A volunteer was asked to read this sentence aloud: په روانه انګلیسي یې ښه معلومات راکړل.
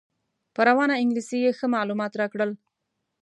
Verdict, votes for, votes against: accepted, 2, 0